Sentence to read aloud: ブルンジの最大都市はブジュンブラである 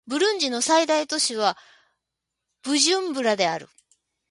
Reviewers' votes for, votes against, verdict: 1, 2, rejected